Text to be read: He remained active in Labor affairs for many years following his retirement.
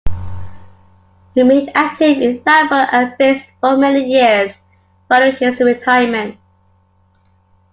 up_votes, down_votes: 1, 2